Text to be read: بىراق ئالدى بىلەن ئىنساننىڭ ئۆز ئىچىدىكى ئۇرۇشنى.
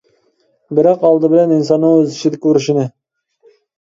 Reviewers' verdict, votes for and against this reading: rejected, 1, 2